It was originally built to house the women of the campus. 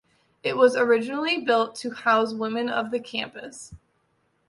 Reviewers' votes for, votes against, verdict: 1, 2, rejected